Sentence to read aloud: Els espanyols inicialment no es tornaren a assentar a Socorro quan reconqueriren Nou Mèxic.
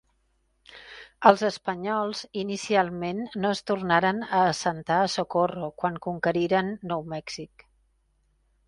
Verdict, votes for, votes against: rejected, 0, 2